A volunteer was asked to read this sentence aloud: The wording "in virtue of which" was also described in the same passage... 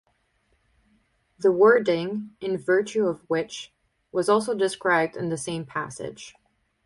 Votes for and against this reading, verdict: 2, 2, rejected